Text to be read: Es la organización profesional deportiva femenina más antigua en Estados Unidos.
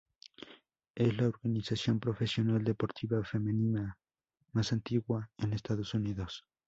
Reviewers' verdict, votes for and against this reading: rejected, 2, 2